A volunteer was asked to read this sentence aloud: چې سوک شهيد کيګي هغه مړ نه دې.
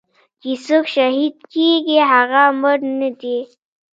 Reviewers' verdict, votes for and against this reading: rejected, 1, 2